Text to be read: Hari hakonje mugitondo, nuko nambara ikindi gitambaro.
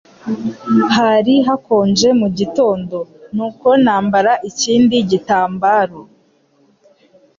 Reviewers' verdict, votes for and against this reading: accepted, 2, 0